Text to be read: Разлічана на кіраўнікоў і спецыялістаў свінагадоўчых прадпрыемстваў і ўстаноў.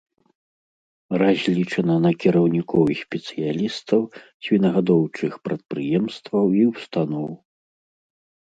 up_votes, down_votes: 2, 0